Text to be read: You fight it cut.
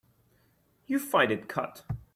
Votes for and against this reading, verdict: 2, 0, accepted